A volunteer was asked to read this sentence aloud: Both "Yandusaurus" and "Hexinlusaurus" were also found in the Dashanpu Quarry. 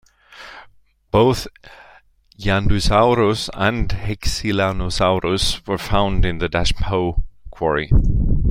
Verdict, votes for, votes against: accepted, 2, 0